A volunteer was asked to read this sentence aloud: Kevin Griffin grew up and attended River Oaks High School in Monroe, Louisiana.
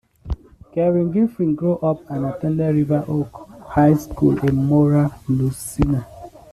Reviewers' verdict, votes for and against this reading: rejected, 0, 2